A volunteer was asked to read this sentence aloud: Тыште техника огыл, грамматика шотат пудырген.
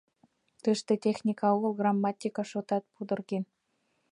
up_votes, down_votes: 2, 0